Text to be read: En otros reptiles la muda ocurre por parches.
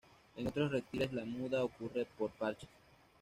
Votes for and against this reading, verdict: 1, 2, rejected